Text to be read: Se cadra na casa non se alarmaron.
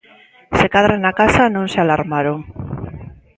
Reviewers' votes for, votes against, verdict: 2, 0, accepted